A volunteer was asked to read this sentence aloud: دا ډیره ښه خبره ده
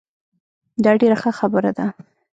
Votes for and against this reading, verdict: 1, 2, rejected